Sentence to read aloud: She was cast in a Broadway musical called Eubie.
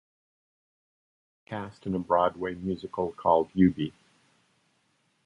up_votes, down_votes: 0, 2